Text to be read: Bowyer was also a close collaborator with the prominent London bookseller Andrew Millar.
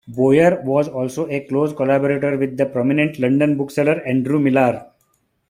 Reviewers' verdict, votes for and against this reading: rejected, 0, 2